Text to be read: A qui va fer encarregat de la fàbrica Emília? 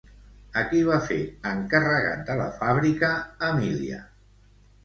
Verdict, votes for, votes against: accepted, 2, 1